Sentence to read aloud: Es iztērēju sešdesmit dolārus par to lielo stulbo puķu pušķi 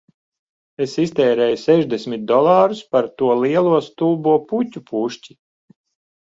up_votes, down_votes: 2, 0